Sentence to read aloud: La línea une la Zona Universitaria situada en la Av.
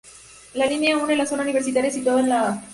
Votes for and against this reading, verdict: 2, 0, accepted